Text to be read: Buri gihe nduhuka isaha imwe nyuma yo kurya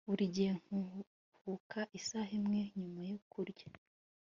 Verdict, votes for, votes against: rejected, 1, 2